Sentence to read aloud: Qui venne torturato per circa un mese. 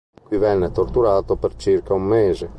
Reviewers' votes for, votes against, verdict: 2, 0, accepted